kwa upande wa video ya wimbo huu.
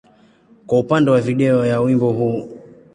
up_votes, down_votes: 2, 0